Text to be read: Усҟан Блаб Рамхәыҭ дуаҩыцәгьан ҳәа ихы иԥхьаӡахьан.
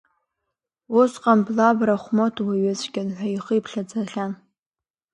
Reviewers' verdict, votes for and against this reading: accepted, 2, 1